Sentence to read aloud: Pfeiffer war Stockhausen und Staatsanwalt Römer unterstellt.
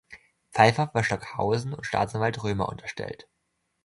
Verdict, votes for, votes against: accepted, 2, 0